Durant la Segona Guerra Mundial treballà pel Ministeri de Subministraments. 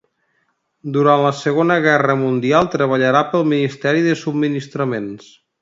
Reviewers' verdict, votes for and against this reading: rejected, 0, 2